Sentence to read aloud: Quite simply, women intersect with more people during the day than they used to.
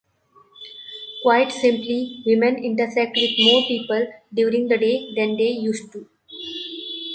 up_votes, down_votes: 2, 0